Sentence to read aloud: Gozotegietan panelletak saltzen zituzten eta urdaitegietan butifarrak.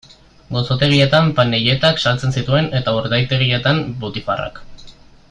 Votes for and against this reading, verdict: 1, 2, rejected